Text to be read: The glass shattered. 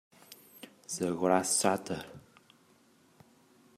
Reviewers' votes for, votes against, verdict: 1, 3, rejected